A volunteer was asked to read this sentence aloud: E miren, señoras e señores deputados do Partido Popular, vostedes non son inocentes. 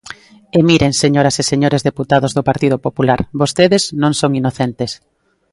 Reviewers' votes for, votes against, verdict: 2, 0, accepted